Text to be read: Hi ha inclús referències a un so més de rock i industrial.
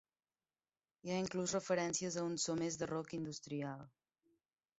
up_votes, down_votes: 1, 2